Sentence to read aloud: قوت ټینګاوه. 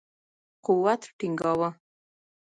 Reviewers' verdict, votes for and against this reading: rejected, 0, 2